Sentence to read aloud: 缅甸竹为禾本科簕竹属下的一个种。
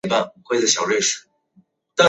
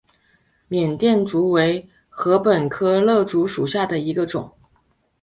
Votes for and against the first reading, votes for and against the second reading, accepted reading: 0, 2, 2, 0, second